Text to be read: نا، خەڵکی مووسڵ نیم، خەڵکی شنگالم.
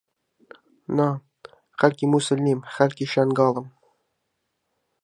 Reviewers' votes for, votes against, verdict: 1, 2, rejected